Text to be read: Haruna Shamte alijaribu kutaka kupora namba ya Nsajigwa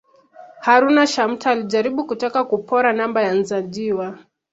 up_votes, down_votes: 2, 0